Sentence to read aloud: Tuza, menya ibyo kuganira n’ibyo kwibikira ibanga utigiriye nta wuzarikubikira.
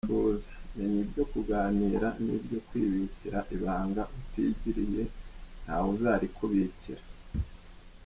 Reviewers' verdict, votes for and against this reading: rejected, 0, 2